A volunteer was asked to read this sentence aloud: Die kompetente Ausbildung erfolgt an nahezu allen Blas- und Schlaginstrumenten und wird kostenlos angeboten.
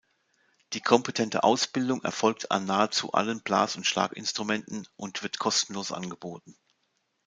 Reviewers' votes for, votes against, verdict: 2, 0, accepted